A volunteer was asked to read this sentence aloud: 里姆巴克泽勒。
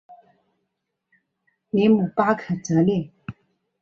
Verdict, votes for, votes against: accepted, 3, 0